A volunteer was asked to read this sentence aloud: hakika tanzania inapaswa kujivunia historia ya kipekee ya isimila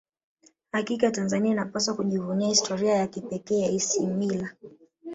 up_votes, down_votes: 0, 2